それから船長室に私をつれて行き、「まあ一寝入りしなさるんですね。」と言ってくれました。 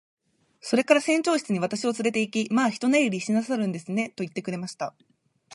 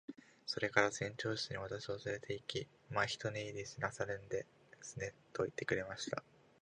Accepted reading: second